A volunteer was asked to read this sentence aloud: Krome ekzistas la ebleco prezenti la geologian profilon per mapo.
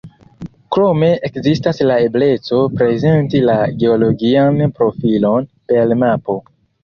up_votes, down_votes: 0, 2